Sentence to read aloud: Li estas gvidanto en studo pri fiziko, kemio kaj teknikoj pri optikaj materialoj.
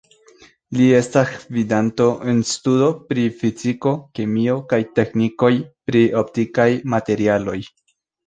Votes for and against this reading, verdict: 0, 2, rejected